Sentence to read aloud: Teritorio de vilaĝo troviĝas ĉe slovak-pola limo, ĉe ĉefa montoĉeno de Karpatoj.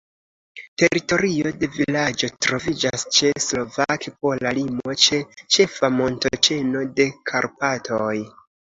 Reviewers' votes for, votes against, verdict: 2, 0, accepted